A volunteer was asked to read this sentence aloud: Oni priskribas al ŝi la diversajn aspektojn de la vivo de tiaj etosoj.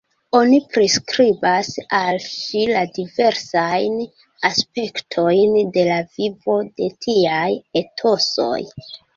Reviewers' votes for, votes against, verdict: 2, 0, accepted